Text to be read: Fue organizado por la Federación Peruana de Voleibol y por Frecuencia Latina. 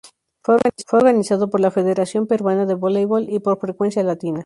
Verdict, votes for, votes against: rejected, 2, 2